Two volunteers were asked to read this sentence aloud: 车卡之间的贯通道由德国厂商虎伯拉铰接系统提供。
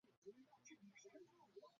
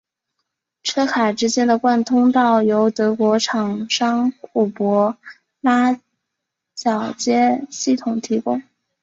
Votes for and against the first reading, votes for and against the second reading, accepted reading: 0, 4, 5, 0, second